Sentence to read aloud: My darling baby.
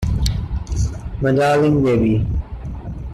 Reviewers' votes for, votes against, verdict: 0, 2, rejected